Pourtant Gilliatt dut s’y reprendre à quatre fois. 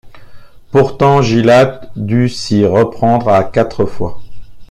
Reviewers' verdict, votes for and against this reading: rejected, 1, 2